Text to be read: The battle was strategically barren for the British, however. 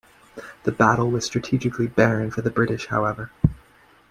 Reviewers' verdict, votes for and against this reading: accepted, 2, 1